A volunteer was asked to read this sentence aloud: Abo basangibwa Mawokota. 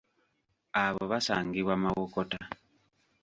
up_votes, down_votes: 2, 0